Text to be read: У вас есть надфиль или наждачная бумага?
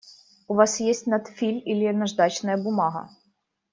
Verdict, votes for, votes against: rejected, 1, 2